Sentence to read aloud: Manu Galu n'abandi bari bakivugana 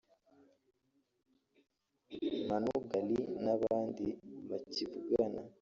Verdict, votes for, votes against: rejected, 1, 2